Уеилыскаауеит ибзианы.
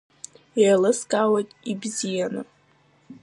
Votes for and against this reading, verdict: 0, 2, rejected